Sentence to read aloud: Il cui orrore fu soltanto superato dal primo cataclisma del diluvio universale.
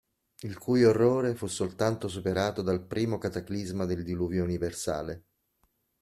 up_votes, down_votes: 2, 0